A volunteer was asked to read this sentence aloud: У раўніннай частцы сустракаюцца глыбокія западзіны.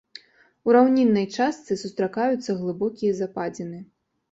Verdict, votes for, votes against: accepted, 2, 0